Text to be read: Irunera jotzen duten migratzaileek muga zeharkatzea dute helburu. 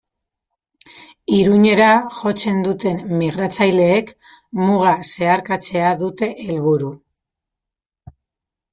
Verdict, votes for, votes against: rejected, 0, 2